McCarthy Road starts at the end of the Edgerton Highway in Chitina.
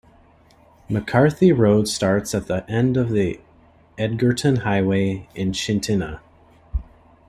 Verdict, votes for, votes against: accepted, 2, 0